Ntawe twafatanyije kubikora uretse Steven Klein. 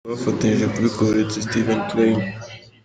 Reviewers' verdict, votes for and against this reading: accepted, 2, 0